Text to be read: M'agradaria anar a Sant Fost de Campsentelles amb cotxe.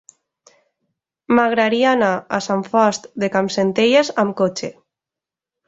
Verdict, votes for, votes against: rejected, 1, 2